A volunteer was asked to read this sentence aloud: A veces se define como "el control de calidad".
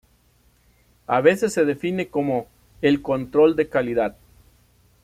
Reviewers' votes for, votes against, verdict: 3, 0, accepted